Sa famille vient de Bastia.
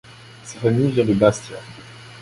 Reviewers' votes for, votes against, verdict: 2, 0, accepted